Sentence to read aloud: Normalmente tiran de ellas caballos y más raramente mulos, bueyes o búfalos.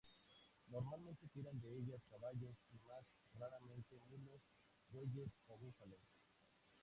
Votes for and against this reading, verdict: 0, 2, rejected